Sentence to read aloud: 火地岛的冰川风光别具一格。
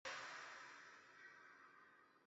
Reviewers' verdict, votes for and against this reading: rejected, 1, 2